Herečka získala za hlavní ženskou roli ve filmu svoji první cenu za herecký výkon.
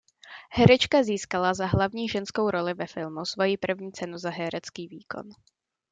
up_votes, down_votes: 2, 0